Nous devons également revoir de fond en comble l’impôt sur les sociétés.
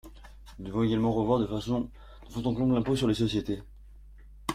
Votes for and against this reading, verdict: 0, 2, rejected